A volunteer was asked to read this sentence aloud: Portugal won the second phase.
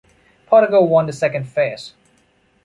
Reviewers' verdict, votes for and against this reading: rejected, 0, 2